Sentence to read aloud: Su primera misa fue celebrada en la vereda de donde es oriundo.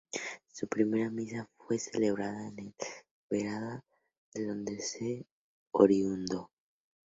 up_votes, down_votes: 2, 2